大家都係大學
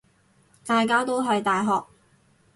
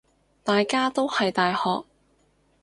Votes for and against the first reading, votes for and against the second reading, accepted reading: 2, 0, 0, 2, first